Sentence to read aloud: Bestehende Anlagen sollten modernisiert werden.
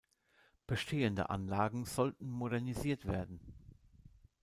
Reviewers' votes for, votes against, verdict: 2, 0, accepted